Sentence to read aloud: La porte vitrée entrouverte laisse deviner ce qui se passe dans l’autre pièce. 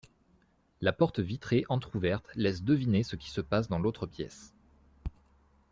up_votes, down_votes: 2, 0